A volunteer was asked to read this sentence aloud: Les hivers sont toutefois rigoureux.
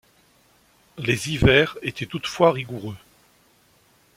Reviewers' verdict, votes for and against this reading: rejected, 1, 2